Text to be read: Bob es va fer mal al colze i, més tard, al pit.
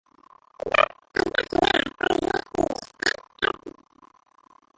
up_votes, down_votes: 0, 2